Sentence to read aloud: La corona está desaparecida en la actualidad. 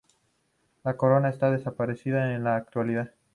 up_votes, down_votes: 2, 0